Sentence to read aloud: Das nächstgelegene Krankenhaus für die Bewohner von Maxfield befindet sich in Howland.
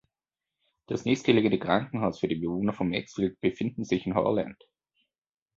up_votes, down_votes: 2, 0